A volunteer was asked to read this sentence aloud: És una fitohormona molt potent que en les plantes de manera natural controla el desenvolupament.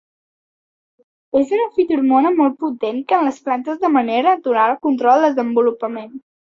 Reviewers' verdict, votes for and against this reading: accepted, 2, 1